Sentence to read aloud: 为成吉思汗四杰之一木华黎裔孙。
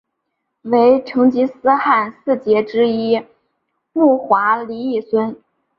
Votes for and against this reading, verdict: 3, 0, accepted